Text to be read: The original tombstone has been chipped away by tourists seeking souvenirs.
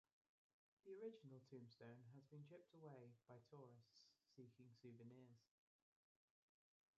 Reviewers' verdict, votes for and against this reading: rejected, 0, 2